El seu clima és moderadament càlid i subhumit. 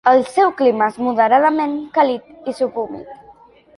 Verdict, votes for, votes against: accepted, 2, 0